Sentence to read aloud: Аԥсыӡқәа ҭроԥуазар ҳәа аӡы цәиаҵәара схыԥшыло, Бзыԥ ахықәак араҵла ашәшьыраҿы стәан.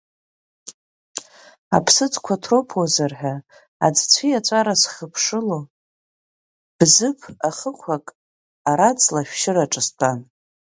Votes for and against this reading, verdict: 5, 1, accepted